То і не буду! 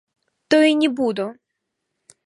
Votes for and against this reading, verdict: 1, 2, rejected